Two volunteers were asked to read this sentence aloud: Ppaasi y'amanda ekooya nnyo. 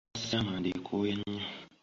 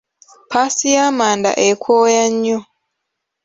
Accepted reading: second